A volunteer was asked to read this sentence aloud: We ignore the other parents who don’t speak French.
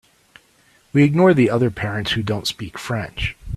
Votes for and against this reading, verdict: 2, 0, accepted